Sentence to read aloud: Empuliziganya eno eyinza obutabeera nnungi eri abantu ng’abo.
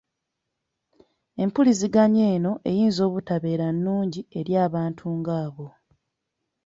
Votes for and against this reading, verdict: 2, 0, accepted